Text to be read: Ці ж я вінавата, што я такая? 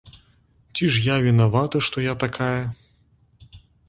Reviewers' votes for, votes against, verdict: 2, 0, accepted